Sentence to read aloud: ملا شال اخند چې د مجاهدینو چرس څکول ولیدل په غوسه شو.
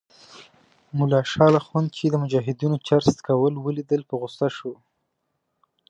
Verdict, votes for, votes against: accepted, 2, 0